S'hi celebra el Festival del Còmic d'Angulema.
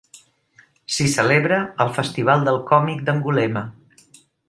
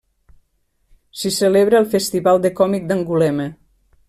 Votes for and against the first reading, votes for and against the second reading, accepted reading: 3, 0, 1, 2, first